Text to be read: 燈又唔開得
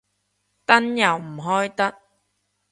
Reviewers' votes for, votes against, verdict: 2, 0, accepted